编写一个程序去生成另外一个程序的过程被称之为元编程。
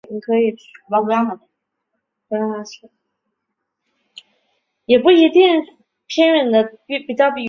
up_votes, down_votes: 0, 3